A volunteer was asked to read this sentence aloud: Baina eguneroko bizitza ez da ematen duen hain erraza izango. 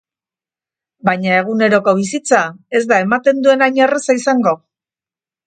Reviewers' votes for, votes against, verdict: 4, 0, accepted